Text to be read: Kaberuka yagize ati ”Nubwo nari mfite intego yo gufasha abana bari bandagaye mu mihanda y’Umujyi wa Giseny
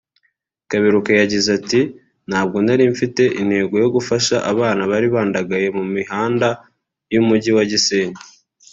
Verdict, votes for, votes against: rejected, 1, 2